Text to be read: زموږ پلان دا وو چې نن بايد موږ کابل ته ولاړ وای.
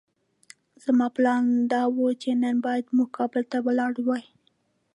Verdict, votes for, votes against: accepted, 2, 0